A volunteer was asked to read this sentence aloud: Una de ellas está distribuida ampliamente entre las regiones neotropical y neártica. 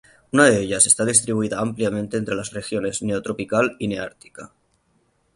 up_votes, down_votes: 3, 0